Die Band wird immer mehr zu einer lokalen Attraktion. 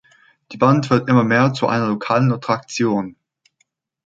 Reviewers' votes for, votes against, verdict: 1, 2, rejected